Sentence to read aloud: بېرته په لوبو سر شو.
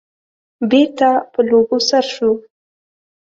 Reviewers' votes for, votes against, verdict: 2, 0, accepted